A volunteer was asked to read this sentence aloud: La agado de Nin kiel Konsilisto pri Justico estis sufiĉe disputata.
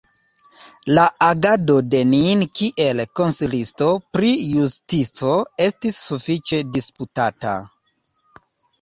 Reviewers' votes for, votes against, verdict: 2, 0, accepted